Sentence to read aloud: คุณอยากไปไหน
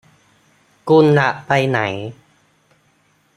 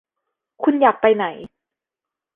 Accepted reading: second